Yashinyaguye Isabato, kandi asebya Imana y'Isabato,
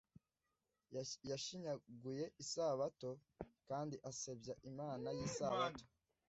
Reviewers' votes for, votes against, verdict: 0, 2, rejected